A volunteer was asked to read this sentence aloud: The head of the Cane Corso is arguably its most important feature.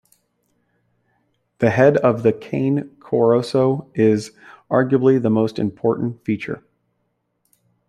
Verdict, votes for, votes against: rejected, 0, 2